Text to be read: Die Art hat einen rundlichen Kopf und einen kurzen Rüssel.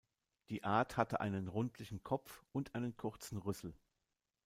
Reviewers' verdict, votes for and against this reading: rejected, 0, 2